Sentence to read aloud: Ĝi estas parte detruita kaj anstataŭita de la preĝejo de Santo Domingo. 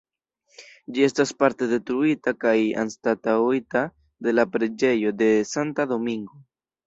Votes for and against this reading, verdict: 1, 2, rejected